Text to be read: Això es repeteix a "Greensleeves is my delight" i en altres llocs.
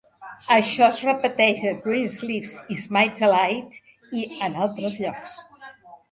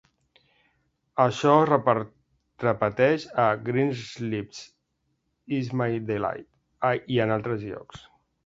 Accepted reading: first